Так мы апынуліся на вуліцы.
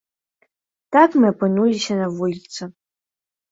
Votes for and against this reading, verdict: 2, 0, accepted